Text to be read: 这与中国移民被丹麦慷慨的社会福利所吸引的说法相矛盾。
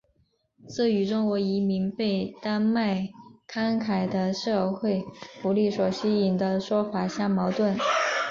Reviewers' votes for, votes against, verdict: 2, 0, accepted